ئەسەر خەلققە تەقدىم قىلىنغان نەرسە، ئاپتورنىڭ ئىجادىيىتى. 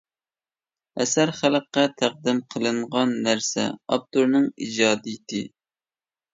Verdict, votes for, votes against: accepted, 2, 0